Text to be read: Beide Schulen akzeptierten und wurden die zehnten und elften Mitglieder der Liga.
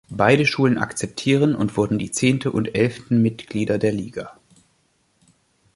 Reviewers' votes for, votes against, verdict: 1, 2, rejected